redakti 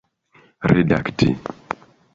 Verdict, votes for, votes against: accepted, 2, 0